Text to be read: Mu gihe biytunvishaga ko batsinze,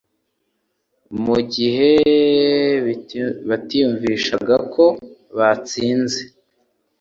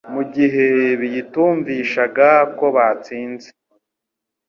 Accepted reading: second